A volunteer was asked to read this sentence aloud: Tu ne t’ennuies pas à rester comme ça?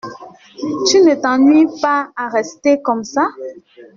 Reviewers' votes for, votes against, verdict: 2, 0, accepted